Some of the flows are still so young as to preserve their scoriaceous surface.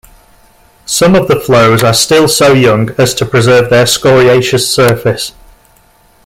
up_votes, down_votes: 2, 0